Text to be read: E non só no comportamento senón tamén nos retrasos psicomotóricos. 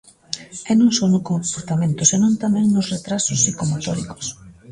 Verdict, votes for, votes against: accepted, 2, 0